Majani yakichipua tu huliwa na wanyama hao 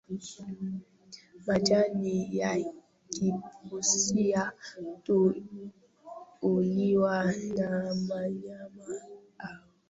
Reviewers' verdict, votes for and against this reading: rejected, 0, 2